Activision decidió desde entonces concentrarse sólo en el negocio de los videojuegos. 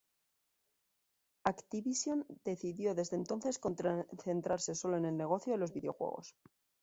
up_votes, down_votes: 1, 2